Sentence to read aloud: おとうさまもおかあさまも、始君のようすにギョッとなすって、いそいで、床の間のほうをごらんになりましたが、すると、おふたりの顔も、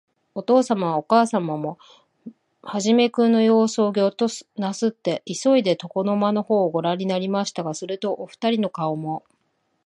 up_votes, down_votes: 0, 2